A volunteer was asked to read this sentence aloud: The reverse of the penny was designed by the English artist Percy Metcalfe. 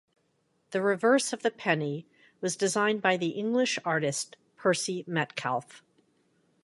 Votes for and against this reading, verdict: 2, 0, accepted